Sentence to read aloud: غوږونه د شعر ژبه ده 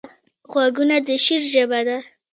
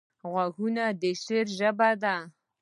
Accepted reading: second